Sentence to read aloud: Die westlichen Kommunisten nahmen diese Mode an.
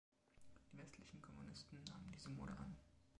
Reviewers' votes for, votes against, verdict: 0, 3, rejected